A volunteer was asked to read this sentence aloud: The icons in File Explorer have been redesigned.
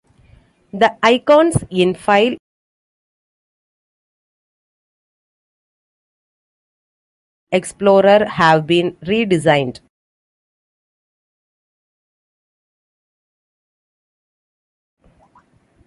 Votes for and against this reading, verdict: 1, 2, rejected